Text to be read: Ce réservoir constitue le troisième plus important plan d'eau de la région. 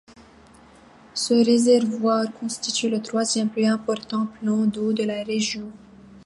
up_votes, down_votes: 2, 0